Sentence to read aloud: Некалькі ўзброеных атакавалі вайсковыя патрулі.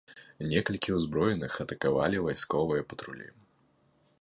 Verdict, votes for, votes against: accepted, 2, 0